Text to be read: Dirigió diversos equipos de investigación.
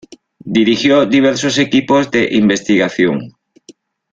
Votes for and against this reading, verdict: 2, 0, accepted